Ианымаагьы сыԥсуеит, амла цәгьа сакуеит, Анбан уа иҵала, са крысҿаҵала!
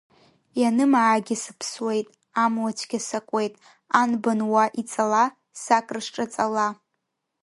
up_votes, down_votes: 2, 0